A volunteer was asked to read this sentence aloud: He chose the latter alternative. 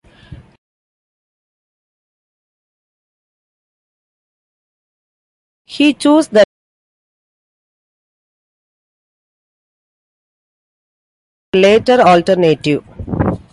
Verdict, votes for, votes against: rejected, 0, 2